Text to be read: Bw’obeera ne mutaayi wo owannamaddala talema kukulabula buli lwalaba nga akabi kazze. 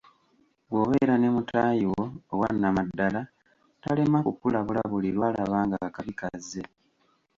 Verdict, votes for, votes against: accepted, 3, 1